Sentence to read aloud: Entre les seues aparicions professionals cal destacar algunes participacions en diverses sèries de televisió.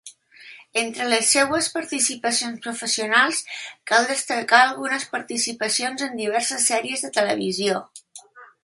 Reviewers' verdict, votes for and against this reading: rejected, 1, 2